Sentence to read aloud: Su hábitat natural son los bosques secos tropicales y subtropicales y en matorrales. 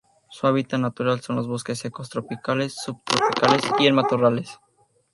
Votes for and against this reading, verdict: 0, 2, rejected